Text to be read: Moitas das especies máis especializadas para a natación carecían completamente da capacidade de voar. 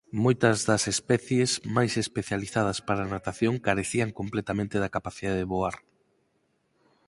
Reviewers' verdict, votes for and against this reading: accepted, 8, 0